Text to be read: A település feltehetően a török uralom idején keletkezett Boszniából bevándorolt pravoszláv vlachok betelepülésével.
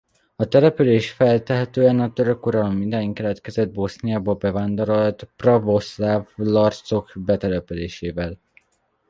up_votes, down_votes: 0, 2